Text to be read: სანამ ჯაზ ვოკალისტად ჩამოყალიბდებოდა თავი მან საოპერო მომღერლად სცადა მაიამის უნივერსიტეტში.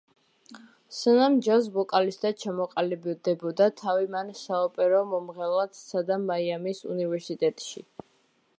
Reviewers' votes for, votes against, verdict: 1, 2, rejected